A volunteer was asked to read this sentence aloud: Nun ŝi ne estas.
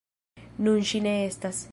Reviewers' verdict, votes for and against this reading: rejected, 1, 2